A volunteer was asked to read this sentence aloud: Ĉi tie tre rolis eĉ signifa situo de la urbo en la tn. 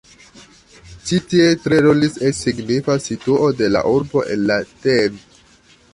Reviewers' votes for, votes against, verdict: 1, 2, rejected